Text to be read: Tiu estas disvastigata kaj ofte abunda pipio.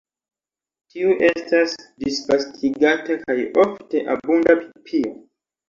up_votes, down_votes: 1, 2